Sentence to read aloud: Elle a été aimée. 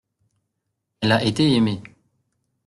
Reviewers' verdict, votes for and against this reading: accepted, 2, 0